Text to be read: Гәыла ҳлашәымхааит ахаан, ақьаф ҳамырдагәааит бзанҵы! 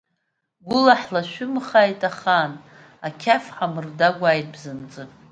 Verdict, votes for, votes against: accepted, 2, 0